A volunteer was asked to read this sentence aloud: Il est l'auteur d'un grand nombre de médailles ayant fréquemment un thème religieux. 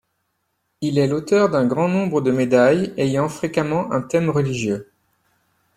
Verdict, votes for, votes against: accepted, 2, 0